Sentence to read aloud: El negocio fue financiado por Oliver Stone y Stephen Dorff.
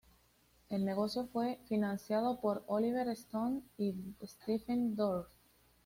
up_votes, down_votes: 2, 0